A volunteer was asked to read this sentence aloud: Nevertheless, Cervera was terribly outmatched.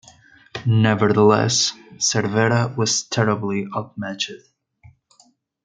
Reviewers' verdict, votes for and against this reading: rejected, 0, 2